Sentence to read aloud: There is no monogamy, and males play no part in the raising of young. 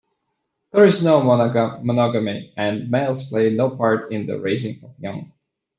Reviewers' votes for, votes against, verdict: 0, 2, rejected